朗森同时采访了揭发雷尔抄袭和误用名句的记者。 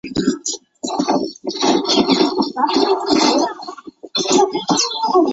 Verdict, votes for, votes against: rejected, 1, 4